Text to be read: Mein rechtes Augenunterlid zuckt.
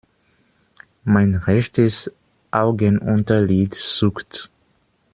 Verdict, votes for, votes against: accepted, 2, 1